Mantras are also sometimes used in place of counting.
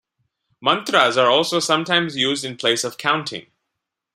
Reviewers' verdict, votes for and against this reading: accepted, 2, 0